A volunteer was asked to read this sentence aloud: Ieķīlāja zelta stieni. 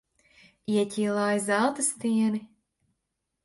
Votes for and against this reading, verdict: 8, 2, accepted